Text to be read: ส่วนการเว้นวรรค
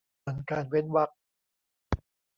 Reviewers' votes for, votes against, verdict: 1, 2, rejected